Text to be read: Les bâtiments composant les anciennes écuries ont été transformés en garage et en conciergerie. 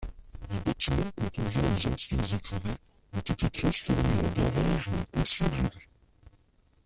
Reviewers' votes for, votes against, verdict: 0, 2, rejected